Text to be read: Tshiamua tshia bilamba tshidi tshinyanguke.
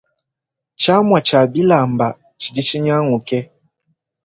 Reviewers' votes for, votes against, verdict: 2, 0, accepted